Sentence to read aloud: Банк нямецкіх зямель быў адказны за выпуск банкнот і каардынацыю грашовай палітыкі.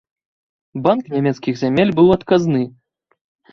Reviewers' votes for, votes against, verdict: 0, 2, rejected